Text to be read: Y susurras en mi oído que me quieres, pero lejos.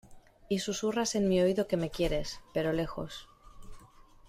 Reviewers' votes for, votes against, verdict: 2, 0, accepted